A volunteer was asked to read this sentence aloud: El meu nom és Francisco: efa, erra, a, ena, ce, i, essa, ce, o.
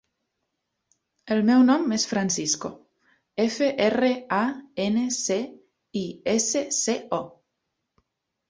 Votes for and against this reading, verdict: 0, 2, rejected